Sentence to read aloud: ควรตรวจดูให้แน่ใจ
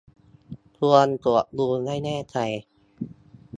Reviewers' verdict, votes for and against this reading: accepted, 2, 0